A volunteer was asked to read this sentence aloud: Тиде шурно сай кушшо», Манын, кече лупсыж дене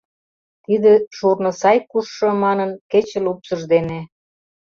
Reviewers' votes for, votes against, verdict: 2, 0, accepted